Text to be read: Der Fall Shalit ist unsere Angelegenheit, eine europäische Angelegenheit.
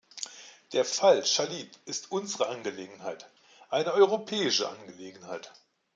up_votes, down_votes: 2, 0